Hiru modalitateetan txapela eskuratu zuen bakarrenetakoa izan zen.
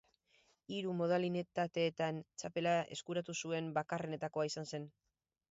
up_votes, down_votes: 2, 2